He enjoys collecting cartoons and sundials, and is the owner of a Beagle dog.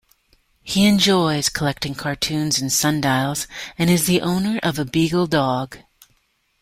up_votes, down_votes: 2, 0